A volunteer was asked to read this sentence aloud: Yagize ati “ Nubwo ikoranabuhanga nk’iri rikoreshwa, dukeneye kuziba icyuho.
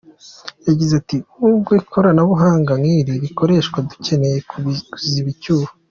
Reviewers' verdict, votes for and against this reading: accepted, 2, 0